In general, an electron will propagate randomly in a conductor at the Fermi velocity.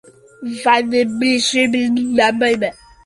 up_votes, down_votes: 0, 2